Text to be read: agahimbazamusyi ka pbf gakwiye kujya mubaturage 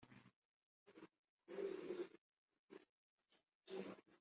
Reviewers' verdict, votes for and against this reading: accepted, 2, 1